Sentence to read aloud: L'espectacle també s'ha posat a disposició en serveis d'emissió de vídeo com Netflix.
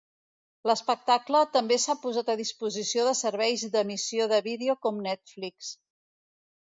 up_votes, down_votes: 0, 2